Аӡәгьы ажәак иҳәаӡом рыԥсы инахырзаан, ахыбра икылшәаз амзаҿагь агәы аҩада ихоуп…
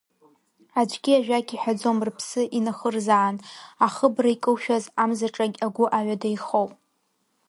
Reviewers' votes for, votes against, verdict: 0, 2, rejected